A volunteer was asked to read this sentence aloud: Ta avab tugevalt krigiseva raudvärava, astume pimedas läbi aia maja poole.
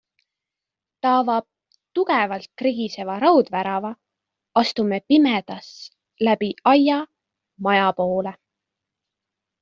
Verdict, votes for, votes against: accepted, 2, 0